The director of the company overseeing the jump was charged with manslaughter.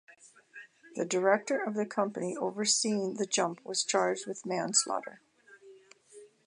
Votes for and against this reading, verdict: 0, 2, rejected